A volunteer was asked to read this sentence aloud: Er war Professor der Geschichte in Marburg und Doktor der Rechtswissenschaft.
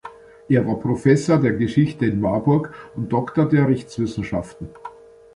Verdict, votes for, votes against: rejected, 1, 2